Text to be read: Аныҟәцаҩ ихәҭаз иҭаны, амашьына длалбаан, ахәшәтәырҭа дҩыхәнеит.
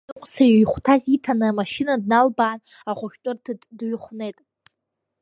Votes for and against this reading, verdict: 1, 2, rejected